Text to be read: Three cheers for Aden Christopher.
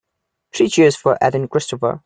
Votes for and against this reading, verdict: 1, 2, rejected